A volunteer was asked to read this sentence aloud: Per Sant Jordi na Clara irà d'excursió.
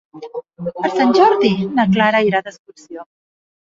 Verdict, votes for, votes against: rejected, 0, 2